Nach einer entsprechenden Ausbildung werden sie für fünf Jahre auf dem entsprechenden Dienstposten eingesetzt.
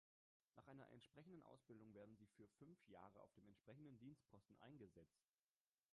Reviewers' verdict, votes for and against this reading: rejected, 1, 2